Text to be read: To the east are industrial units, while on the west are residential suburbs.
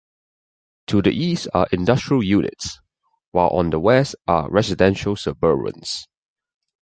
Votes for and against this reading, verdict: 1, 2, rejected